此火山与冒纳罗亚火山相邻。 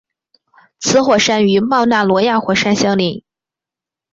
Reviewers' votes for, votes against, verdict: 4, 0, accepted